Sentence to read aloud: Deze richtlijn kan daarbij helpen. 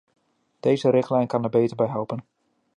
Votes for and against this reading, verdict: 0, 2, rejected